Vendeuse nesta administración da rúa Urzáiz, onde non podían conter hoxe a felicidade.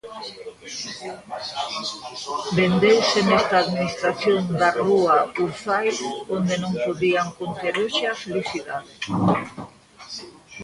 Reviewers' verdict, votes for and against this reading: rejected, 0, 2